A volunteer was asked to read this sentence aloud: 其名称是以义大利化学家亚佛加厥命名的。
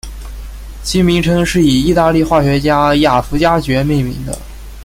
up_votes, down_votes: 0, 2